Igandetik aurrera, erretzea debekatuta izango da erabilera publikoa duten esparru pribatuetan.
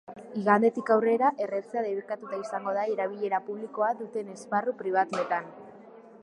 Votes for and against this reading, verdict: 3, 0, accepted